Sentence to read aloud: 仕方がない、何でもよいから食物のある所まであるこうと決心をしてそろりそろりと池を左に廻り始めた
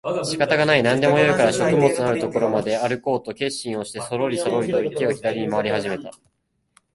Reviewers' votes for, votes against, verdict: 2, 0, accepted